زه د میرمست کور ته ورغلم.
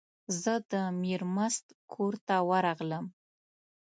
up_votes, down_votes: 2, 0